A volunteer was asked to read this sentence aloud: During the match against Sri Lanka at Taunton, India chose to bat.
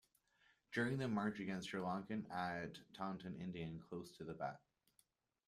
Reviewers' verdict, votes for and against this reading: rejected, 1, 2